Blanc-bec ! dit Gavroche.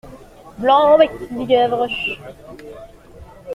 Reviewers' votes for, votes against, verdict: 2, 1, accepted